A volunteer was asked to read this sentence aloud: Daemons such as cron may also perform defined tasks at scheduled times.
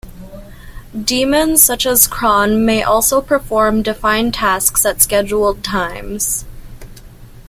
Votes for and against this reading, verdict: 2, 0, accepted